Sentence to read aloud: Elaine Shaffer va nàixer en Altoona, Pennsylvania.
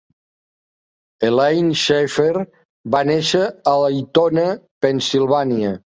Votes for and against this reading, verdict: 0, 2, rejected